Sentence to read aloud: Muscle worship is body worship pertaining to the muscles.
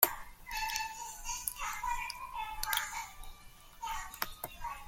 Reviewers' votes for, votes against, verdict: 0, 2, rejected